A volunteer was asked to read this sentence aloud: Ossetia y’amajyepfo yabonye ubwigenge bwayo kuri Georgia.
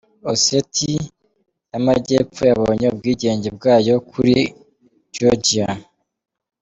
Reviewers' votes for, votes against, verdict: 2, 0, accepted